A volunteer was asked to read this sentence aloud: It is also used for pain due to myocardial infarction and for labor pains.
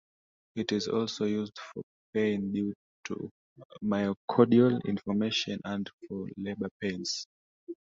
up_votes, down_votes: 1, 2